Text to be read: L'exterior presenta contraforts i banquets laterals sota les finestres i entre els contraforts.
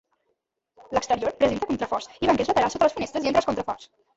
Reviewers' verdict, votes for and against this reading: rejected, 0, 2